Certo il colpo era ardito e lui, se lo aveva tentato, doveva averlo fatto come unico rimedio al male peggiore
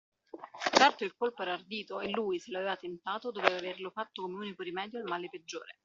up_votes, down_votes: 2, 1